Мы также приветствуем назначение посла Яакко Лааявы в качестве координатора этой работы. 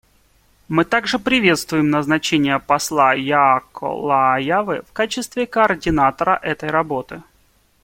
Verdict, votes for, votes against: accepted, 2, 0